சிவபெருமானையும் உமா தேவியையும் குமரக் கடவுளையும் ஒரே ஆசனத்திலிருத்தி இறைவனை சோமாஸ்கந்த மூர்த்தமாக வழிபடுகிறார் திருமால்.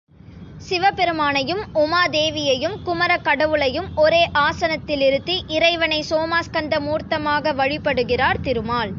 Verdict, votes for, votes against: rejected, 1, 2